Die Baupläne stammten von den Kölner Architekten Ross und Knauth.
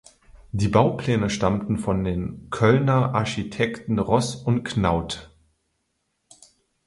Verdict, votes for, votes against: accepted, 4, 0